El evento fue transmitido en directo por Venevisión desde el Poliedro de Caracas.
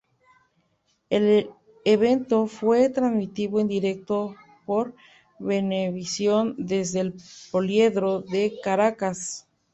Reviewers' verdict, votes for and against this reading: rejected, 0, 2